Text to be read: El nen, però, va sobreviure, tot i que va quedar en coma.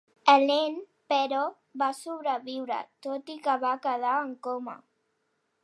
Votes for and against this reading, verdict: 2, 0, accepted